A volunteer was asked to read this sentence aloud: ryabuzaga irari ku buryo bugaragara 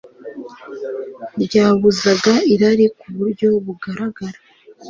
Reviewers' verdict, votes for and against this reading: accepted, 2, 0